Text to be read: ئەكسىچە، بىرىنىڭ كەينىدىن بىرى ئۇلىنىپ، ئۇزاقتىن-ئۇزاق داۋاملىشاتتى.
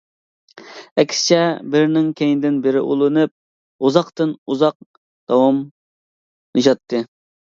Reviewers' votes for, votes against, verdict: 2, 0, accepted